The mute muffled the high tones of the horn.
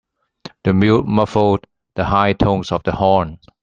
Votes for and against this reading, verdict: 2, 0, accepted